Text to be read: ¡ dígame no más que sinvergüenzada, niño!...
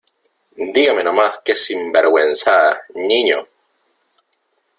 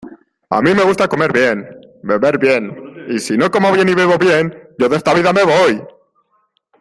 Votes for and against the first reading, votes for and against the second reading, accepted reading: 2, 1, 0, 2, first